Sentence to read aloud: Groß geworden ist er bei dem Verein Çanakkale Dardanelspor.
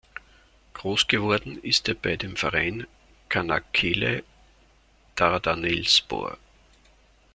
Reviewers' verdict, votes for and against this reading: rejected, 0, 2